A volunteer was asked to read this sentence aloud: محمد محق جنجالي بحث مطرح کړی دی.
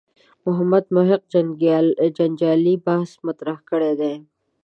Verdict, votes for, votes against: rejected, 1, 2